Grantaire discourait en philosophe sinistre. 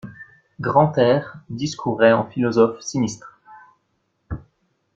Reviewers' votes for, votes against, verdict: 2, 0, accepted